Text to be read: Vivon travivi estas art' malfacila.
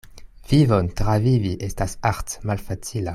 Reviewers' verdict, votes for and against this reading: accepted, 2, 0